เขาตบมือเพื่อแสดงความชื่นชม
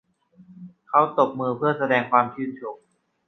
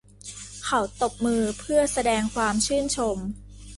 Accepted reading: first